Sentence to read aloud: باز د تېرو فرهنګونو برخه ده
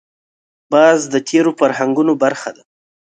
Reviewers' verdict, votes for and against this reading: accepted, 2, 0